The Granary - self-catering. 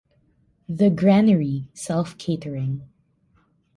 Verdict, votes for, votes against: accepted, 2, 0